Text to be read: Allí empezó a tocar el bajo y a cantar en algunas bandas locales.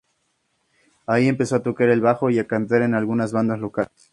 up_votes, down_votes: 2, 0